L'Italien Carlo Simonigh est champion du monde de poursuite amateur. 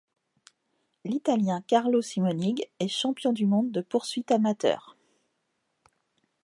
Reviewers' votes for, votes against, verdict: 2, 0, accepted